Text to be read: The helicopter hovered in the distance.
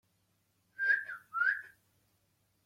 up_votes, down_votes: 0, 2